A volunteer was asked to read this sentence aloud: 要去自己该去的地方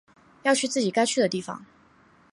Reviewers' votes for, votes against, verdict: 12, 0, accepted